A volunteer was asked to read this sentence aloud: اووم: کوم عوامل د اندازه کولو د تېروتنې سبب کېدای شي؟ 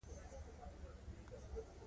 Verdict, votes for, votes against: rejected, 1, 2